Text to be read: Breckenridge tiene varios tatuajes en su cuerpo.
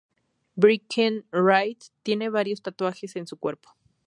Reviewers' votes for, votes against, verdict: 2, 0, accepted